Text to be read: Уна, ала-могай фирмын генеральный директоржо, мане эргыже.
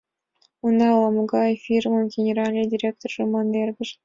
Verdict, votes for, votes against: accepted, 2, 0